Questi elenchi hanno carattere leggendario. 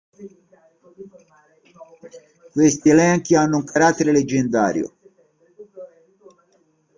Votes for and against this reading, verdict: 0, 3, rejected